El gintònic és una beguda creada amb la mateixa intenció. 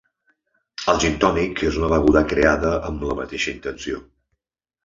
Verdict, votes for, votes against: accepted, 2, 0